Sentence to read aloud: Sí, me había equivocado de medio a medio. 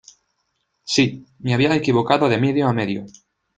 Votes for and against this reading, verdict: 0, 2, rejected